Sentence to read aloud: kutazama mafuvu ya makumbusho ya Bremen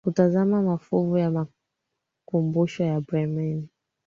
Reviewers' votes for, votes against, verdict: 2, 0, accepted